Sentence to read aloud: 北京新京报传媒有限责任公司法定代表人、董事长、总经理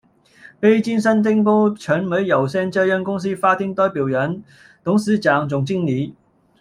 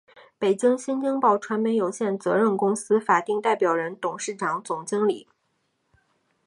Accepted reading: second